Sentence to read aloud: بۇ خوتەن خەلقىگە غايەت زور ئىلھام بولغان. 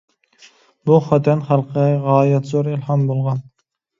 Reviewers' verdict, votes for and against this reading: rejected, 0, 2